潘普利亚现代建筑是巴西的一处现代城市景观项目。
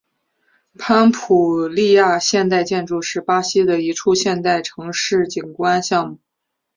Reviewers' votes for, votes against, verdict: 1, 2, rejected